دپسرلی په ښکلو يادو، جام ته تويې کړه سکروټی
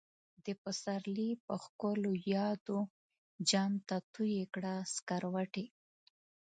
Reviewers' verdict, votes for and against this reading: accepted, 2, 1